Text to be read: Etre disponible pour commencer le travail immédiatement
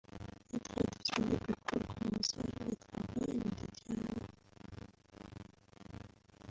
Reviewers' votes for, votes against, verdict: 0, 2, rejected